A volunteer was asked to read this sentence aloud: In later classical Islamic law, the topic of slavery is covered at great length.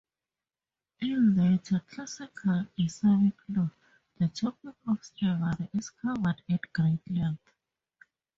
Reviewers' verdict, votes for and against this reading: accepted, 4, 0